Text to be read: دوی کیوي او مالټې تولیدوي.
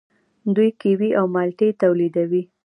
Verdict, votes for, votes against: accepted, 2, 0